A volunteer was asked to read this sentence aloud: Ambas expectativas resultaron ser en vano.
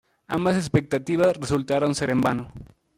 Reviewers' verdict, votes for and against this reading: rejected, 1, 2